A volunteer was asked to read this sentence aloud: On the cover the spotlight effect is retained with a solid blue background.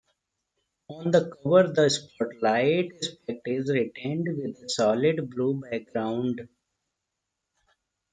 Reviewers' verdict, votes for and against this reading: rejected, 0, 2